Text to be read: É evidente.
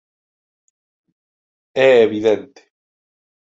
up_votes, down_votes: 2, 0